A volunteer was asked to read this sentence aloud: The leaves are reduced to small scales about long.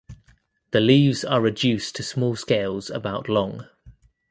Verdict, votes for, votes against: accepted, 2, 0